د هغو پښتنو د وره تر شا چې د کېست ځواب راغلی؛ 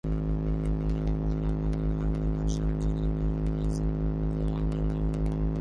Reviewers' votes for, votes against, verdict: 0, 2, rejected